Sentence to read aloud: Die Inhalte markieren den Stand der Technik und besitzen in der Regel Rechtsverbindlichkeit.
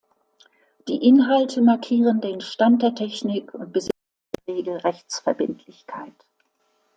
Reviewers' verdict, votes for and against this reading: rejected, 0, 2